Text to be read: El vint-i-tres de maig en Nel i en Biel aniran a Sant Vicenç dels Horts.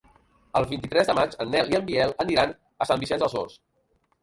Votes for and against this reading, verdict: 1, 2, rejected